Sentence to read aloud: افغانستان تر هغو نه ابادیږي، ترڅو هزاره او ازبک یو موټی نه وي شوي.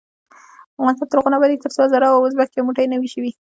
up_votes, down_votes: 2, 0